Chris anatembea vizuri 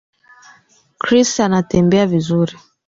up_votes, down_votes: 1, 2